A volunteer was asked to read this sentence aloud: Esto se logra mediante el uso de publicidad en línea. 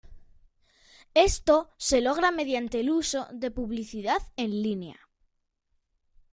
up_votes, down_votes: 3, 0